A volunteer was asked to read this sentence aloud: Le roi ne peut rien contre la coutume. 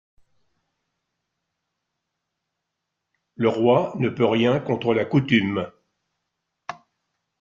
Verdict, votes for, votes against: accepted, 2, 1